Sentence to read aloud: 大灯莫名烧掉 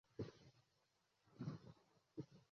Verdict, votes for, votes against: rejected, 1, 2